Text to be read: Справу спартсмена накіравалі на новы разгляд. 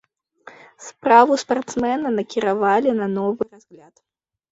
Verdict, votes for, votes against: rejected, 1, 2